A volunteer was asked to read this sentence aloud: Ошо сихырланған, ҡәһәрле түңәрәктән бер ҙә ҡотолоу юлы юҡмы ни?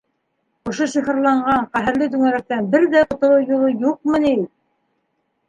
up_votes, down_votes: 3, 0